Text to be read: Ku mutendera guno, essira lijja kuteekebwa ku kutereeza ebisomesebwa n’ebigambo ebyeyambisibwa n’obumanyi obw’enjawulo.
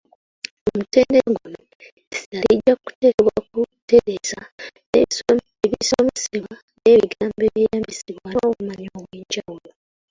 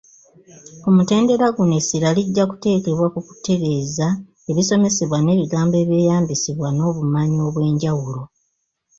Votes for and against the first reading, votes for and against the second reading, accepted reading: 0, 2, 2, 0, second